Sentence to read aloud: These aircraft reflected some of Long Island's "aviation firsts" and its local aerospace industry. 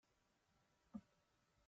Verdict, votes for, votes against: rejected, 0, 2